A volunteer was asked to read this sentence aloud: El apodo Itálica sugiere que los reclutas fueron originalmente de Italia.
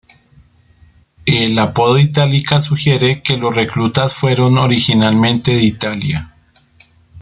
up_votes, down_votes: 2, 0